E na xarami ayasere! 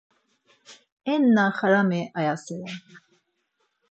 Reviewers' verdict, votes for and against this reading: accepted, 4, 2